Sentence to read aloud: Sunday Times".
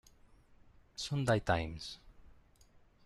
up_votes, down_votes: 0, 2